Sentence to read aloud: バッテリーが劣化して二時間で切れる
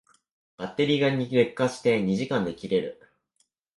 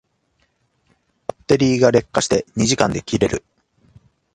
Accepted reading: second